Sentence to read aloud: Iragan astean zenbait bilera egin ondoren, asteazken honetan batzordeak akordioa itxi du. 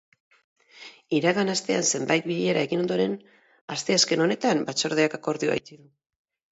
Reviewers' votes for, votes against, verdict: 0, 2, rejected